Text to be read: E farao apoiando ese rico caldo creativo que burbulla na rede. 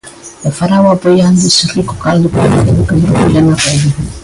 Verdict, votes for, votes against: rejected, 0, 2